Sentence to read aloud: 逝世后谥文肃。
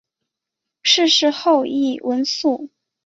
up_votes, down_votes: 0, 2